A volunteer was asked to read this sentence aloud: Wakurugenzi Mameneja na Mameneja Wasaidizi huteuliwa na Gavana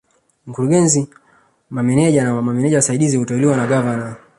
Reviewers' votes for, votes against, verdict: 1, 2, rejected